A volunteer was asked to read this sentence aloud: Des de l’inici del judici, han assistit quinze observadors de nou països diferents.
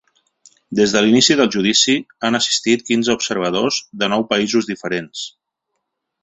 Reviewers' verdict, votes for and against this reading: accepted, 3, 0